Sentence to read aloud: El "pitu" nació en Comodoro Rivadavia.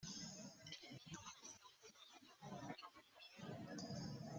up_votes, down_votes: 0, 3